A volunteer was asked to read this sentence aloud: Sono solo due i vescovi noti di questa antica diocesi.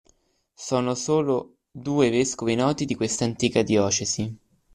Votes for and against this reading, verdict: 1, 2, rejected